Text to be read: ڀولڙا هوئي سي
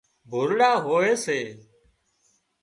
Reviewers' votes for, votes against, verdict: 2, 0, accepted